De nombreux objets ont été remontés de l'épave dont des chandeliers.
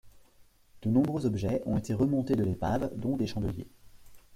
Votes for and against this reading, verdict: 2, 0, accepted